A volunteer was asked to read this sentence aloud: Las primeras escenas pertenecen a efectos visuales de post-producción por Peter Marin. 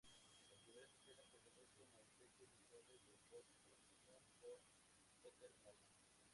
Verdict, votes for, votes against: rejected, 0, 2